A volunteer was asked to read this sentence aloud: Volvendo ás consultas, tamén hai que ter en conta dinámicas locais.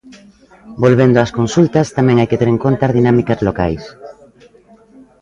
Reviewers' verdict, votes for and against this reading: accepted, 2, 0